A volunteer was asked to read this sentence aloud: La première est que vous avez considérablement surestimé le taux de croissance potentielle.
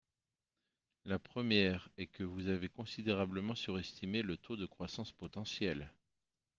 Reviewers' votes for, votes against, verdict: 2, 1, accepted